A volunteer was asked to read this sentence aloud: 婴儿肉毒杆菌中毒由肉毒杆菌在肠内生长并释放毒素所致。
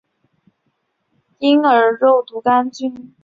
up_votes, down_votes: 0, 3